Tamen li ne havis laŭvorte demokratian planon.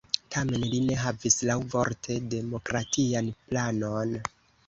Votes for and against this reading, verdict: 1, 2, rejected